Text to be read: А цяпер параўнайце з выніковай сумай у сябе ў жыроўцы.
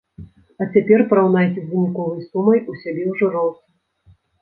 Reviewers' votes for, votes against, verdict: 1, 2, rejected